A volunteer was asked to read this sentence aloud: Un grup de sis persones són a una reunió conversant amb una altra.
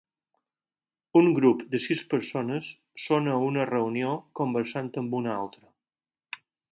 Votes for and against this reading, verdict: 4, 0, accepted